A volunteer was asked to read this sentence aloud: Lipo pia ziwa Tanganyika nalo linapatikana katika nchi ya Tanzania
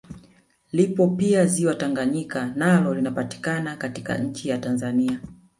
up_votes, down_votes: 0, 2